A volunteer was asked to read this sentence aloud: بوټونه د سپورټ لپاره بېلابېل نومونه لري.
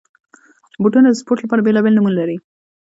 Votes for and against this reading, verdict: 1, 2, rejected